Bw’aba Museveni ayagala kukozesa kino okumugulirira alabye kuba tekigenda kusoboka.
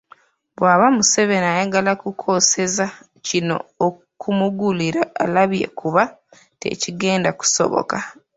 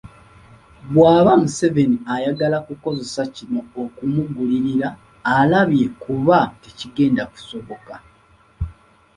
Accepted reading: second